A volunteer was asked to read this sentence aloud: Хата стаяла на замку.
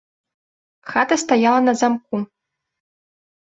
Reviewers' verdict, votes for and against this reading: accepted, 2, 0